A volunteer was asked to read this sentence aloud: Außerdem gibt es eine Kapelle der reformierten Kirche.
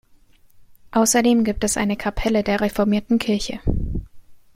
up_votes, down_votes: 2, 0